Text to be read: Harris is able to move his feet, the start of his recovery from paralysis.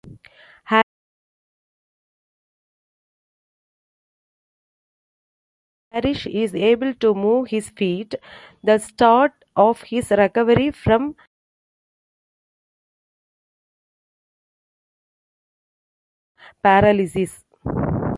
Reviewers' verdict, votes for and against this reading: rejected, 0, 2